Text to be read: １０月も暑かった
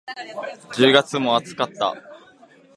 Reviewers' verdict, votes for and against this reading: rejected, 0, 2